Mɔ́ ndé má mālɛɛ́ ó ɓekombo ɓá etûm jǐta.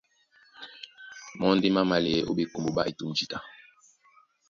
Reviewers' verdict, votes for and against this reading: accepted, 2, 0